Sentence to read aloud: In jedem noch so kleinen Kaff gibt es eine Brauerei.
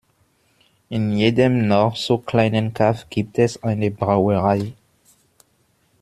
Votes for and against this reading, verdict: 2, 0, accepted